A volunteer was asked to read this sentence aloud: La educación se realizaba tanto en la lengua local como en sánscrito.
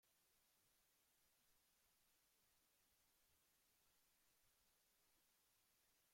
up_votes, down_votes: 0, 2